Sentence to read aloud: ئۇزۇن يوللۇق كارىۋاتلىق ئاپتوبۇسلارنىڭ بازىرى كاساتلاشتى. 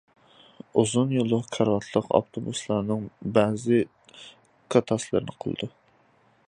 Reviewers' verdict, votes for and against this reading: rejected, 0, 2